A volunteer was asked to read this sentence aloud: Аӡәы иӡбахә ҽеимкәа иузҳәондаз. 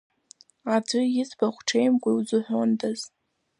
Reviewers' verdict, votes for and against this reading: rejected, 0, 2